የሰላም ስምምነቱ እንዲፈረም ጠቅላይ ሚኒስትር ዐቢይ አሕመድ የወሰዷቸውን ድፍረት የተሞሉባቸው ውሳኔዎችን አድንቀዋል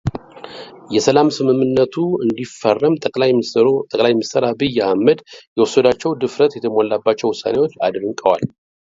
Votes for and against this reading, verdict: 0, 2, rejected